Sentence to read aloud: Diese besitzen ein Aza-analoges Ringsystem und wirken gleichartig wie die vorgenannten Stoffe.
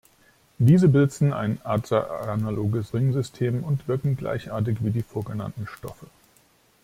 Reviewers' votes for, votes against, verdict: 1, 2, rejected